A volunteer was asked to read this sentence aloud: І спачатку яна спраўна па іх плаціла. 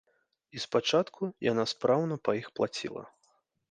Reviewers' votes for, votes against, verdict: 3, 1, accepted